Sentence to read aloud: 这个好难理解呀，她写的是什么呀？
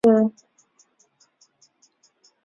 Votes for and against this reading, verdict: 1, 2, rejected